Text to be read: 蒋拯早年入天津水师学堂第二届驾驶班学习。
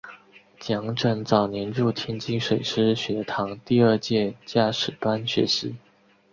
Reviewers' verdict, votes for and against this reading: accepted, 3, 0